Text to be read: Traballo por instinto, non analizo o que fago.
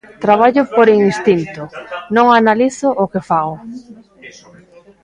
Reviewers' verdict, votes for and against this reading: rejected, 0, 3